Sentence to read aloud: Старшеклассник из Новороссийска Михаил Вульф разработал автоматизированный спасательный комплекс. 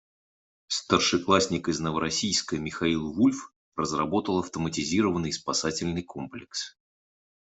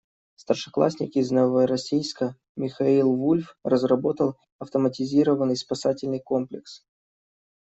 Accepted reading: first